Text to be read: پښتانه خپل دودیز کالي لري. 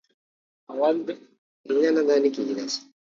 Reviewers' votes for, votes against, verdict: 1, 2, rejected